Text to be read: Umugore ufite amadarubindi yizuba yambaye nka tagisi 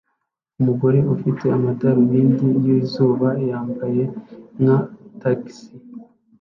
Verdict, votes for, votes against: accepted, 2, 0